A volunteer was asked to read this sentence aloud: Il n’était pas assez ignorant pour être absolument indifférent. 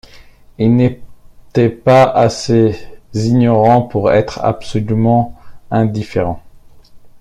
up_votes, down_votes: 1, 2